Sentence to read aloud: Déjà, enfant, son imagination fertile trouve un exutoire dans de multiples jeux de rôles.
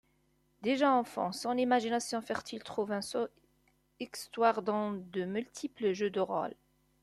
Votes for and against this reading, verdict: 0, 2, rejected